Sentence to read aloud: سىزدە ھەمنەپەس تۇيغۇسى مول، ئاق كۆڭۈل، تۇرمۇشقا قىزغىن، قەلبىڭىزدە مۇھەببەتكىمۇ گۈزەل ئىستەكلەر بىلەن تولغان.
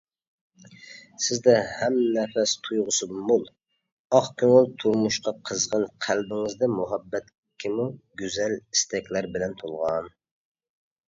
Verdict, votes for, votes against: accepted, 2, 0